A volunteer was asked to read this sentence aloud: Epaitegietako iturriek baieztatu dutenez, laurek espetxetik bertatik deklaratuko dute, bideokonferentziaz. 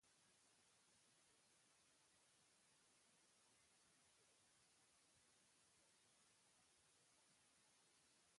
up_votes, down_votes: 0, 3